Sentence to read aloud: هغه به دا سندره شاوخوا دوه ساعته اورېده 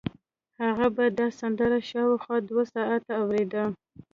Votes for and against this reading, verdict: 0, 2, rejected